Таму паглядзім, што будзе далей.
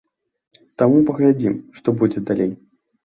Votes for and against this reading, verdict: 2, 0, accepted